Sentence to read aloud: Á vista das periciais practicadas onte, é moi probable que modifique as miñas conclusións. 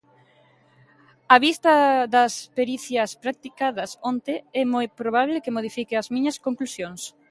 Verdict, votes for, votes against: rejected, 0, 2